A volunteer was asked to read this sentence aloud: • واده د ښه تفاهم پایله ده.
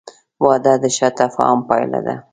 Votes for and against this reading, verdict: 2, 0, accepted